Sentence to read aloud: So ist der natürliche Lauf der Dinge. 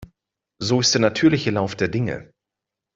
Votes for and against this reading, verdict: 2, 0, accepted